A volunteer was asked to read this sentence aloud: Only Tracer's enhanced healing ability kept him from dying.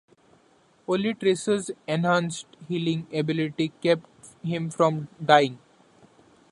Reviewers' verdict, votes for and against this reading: accepted, 2, 0